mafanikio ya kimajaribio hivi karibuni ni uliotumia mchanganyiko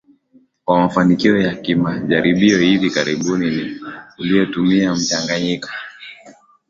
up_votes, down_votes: 2, 1